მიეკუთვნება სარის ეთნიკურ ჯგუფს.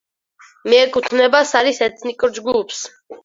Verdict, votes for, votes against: accepted, 4, 0